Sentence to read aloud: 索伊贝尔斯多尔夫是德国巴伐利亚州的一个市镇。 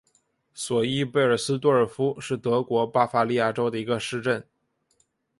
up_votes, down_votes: 8, 0